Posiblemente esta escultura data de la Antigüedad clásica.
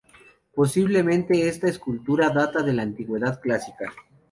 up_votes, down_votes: 2, 0